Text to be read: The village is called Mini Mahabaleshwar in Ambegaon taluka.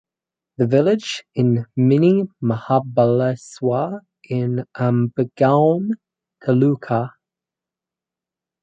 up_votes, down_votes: 0, 4